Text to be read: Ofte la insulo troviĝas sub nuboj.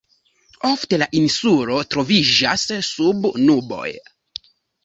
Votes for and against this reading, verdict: 2, 0, accepted